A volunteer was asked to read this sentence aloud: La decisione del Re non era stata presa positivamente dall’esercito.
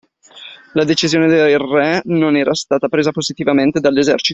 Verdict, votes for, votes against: accepted, 2, 1